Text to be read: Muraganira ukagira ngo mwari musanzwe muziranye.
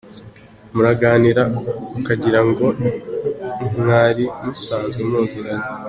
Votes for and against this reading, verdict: 3, 0, accepted